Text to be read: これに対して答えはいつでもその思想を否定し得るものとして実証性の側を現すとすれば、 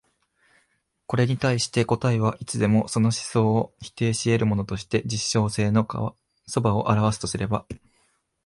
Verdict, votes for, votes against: rejected, 0, 2